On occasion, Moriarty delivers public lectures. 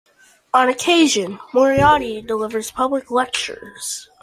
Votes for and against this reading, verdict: 2, 0, accepted